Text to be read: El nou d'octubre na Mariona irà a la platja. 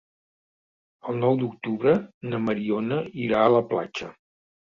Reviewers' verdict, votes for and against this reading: accepted, 3, 0